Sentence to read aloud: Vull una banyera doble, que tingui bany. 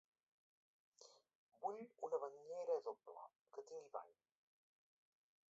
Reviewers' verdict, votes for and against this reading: rejected, 0, 2